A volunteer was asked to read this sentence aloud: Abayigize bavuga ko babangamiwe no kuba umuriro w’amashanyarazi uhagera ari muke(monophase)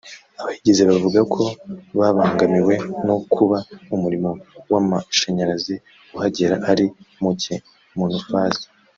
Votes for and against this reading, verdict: 0, 2, rejected